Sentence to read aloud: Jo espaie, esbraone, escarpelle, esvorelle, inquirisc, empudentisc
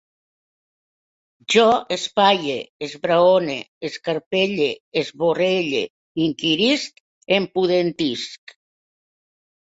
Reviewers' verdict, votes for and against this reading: accepted, 2, 0